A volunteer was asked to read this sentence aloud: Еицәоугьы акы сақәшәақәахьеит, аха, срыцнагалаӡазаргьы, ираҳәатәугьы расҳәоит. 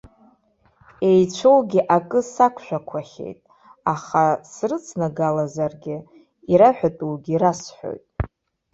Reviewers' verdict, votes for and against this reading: accepted, 2, 0